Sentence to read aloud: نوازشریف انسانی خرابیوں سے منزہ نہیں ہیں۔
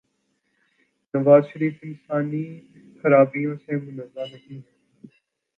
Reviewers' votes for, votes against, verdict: 0, 2, rejected